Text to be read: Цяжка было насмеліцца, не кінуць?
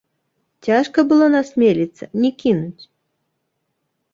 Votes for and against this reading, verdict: 0, 2, rejected